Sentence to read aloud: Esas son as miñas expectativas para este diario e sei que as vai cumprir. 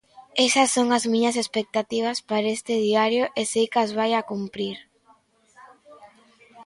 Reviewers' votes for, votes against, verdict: 0, 2, rejected